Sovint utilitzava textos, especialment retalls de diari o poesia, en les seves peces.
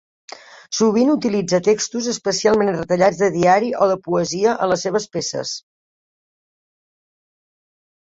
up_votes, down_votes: 0, 2